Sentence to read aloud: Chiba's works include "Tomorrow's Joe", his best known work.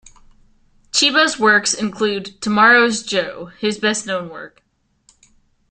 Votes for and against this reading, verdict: 2, 0, accepted